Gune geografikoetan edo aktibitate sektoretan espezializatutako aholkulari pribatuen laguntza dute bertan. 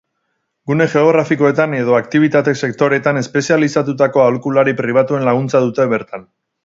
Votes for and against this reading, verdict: 2, 2, rejected